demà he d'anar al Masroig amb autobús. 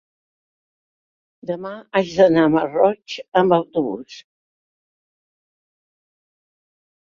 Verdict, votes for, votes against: rejected, 0, 2